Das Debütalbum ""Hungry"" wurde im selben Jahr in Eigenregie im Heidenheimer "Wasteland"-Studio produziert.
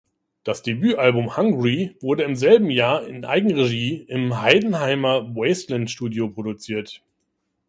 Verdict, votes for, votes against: accepted, 2, 0